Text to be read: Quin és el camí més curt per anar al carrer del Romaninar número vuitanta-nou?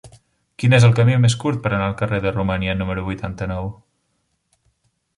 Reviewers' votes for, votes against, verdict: 0, 2, rejected